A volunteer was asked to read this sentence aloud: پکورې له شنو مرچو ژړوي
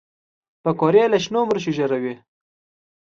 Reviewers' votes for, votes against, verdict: 2, 0, accepted